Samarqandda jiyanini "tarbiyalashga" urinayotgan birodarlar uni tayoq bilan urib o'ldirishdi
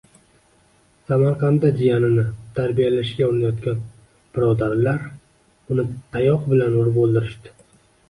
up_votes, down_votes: 2, 0